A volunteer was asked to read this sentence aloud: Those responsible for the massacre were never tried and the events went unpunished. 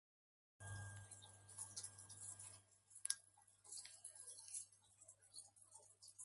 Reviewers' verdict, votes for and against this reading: rejected, 0, 2